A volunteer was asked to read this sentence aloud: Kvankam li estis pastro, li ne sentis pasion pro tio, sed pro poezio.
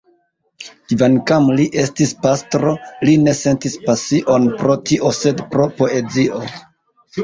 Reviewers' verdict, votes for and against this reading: rejected, 0, 2